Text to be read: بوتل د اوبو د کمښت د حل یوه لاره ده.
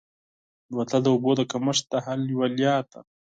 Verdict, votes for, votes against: accepted, 4, 2